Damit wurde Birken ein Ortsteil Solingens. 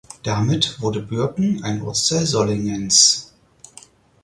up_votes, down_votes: 4, 0